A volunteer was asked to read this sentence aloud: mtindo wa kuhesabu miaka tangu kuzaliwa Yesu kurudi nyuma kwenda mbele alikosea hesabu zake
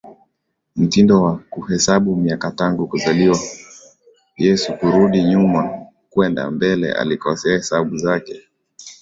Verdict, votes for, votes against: accepted, 2, 0